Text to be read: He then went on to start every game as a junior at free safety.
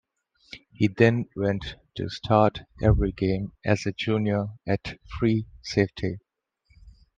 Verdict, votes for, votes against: rejected, 1, 2